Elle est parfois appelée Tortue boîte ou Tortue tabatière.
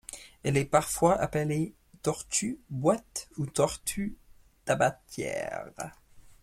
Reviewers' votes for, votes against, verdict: 2, 1, accepted